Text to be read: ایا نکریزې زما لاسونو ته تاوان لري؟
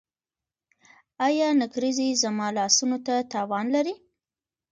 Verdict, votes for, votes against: rejected, 0, 2